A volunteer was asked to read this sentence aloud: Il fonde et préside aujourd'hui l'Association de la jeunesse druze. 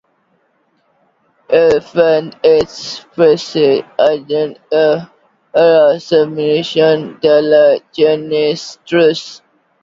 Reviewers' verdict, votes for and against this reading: rejected, 0, 2